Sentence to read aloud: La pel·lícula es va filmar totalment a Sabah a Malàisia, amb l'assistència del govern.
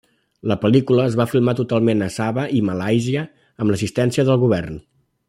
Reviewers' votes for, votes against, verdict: 1, 2, rejected